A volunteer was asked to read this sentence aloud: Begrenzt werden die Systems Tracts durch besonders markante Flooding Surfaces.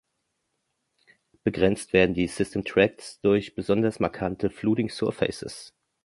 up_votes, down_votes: 0, 2